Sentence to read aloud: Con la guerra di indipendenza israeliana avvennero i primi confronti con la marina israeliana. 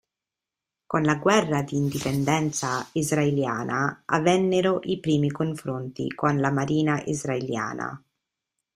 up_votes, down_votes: 2, 0